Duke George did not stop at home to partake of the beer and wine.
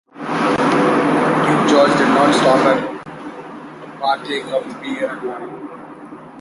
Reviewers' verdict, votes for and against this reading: accepted, 2, 1